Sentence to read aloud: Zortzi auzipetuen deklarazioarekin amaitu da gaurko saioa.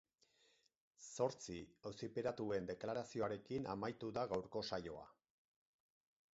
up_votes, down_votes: 2, 2